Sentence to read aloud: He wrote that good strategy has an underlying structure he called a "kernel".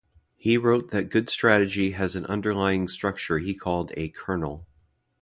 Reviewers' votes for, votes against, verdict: 2, 0, accepted